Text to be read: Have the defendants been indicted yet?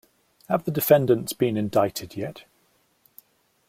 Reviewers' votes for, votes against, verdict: 2, 0, accepted